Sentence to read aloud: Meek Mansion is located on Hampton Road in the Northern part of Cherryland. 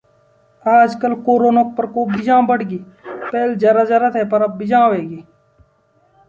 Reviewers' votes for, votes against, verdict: 1, 2, rejected